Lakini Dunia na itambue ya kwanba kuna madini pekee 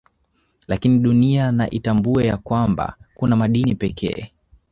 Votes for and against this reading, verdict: 2, 0, accepted